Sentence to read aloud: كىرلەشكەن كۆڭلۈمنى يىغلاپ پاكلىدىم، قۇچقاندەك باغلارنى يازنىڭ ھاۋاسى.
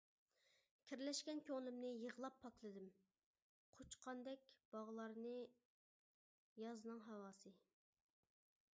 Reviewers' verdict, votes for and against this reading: rejected, 1, 2